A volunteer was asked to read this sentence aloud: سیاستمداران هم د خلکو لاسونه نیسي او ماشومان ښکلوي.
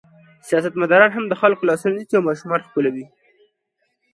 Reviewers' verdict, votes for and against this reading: accepted, 2, 1